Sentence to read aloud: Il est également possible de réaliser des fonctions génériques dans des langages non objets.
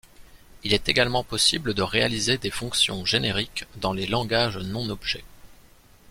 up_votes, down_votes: 0, 2